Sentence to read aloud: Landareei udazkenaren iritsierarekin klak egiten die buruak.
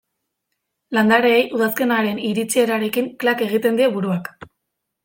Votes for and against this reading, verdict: 2, 0, accepted